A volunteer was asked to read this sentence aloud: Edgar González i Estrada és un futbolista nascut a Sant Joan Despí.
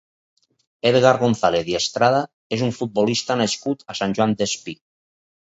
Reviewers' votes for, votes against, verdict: 4, 0, accepted